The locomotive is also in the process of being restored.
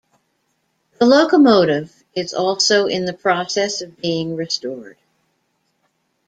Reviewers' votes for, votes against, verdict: 1, 2, rejected